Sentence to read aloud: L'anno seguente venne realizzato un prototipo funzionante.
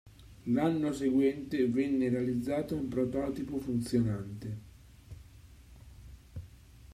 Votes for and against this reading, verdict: 2, 0, accepted